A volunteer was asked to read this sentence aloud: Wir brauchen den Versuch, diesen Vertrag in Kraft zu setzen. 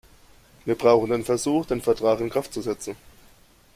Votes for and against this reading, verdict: 0, 2, rejected